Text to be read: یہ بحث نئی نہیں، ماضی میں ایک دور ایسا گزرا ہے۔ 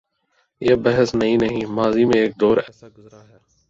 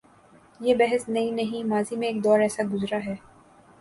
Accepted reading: second